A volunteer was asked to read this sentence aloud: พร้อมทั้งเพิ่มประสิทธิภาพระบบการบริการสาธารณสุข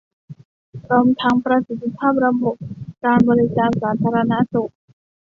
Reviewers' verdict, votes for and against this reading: rejected, 0, 2